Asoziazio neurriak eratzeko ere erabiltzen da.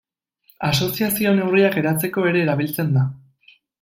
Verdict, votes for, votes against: accepted, 2, 0